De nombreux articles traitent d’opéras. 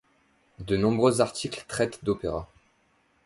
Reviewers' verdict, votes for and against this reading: accepted, 2, 0